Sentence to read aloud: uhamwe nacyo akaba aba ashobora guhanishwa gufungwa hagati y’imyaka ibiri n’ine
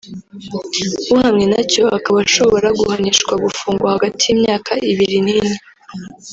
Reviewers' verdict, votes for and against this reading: rejected, 0, 2